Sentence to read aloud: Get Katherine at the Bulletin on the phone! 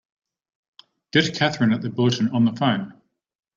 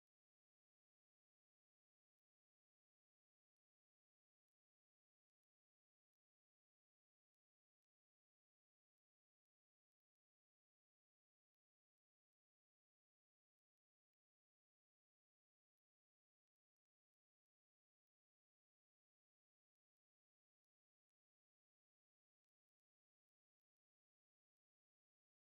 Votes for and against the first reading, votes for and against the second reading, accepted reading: 2, 0, 0, 3, first